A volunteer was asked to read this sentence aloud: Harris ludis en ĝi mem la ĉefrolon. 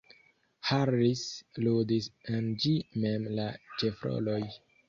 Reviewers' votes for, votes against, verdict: 0, 2, rejected